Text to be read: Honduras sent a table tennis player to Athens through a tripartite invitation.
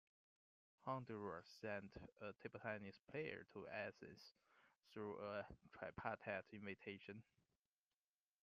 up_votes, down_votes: 2, 0